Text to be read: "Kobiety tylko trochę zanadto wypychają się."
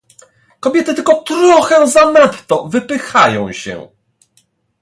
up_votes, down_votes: 2, 0